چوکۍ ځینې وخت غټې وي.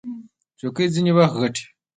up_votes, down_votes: 1, 2